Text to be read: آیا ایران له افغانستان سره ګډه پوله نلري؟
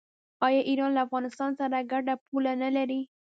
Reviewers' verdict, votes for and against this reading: rejected, 1, 2